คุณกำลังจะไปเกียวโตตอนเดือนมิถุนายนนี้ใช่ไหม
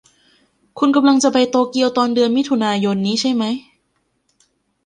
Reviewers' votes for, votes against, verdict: 1, 2, rejected